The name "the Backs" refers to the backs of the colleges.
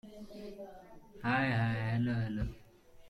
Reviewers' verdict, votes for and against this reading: rejected, 1, 3